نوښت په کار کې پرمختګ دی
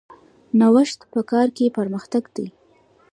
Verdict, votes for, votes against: accepted, 2, 0